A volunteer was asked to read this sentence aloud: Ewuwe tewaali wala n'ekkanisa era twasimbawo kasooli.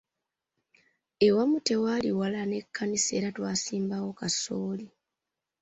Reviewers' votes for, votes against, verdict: 0, 2, rejected